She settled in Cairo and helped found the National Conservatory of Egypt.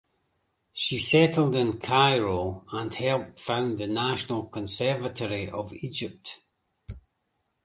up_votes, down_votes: 2, 0